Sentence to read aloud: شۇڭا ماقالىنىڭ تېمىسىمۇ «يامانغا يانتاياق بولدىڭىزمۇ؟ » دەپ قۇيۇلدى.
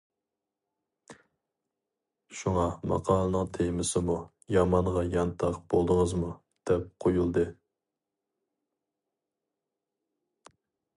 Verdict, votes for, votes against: rejected, 0, 2